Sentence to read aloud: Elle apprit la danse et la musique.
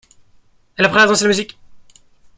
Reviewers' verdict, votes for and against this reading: rejected, 0, 2